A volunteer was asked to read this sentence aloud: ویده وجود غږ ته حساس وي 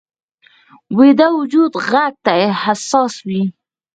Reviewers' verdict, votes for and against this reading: rejected, 0, 4